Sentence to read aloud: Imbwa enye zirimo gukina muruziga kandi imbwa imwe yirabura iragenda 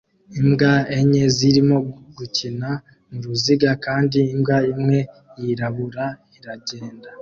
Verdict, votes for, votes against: accepted, 2, 0